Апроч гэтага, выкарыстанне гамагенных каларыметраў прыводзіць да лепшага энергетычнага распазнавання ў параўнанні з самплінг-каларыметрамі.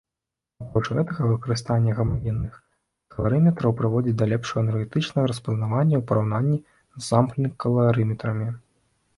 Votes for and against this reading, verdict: 2, 1, accepted